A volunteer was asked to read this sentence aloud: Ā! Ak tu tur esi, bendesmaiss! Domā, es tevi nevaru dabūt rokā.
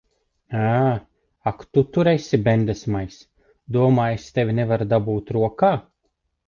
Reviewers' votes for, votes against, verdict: 2, 0, accepted